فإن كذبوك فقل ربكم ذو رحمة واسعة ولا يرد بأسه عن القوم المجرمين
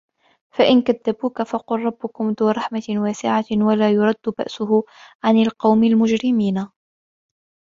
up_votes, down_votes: 2, 0